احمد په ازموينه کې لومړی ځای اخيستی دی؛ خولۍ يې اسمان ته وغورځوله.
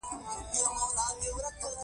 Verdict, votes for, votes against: accepted, 2, 0